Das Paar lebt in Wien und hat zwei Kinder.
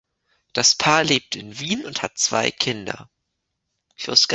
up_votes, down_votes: 1, 2